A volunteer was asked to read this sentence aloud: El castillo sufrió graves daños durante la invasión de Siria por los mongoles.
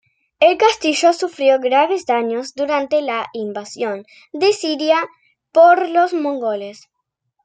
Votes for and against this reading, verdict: 2, 1, accepted